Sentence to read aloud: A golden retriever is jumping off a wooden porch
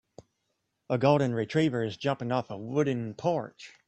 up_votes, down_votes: 2, 0